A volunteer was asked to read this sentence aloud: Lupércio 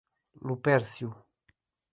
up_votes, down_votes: 2, 0